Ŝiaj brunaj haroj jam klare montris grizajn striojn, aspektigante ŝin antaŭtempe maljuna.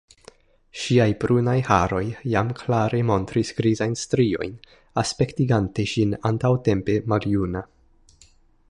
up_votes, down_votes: 2, 1